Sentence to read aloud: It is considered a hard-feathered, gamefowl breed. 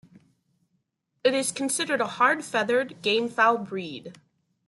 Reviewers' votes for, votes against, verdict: 2, 0, accepted